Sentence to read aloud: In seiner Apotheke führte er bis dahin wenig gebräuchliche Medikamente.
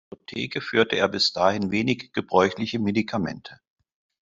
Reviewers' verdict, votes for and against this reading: accepted, 2, 0